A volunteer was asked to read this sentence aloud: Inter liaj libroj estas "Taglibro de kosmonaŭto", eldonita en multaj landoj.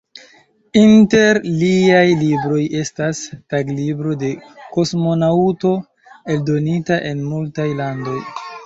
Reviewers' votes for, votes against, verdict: 1, 2, rejected